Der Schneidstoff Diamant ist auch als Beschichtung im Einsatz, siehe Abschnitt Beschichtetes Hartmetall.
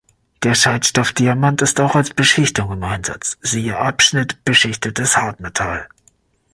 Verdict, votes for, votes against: rejected, 0, 2